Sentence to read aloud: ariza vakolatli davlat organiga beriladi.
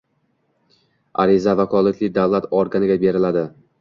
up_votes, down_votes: 1, 2